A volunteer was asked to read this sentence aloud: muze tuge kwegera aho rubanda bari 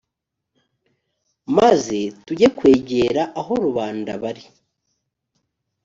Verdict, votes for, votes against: rejected, 1, 2